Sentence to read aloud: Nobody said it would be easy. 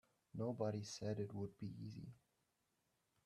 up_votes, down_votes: 1, 2